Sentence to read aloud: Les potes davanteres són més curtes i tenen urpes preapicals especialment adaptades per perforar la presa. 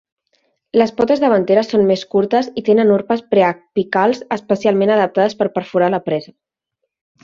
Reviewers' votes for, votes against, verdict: 0, 2, rejected